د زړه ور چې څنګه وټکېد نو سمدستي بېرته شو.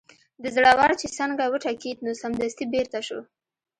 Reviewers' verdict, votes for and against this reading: accepted, 2, 0